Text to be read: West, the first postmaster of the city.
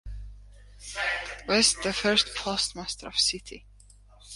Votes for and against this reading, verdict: 1, 2, rejected